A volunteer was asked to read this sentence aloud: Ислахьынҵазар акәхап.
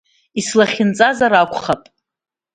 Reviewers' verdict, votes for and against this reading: accepted, 2, 0